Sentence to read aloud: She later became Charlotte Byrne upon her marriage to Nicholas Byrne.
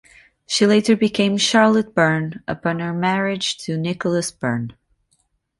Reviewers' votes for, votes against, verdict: 3, 0, accepted